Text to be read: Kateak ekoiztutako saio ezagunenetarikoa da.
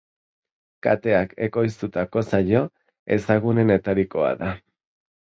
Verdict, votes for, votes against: accepted, 2, 0